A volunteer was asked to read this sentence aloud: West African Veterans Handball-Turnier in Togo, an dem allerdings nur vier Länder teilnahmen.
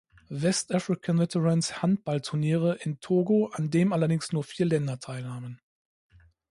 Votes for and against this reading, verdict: 0, 2, rejected